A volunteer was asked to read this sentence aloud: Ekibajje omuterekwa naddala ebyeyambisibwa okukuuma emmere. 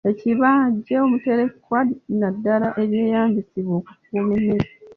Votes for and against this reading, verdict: 0, 2, rejected